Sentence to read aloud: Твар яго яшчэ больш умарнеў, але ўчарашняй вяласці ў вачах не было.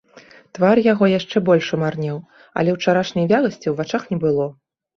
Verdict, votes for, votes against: accepted, 2, 0